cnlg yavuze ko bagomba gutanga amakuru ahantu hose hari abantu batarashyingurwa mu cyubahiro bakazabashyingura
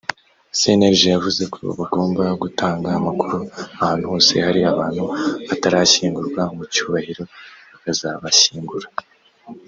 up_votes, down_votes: 2, 0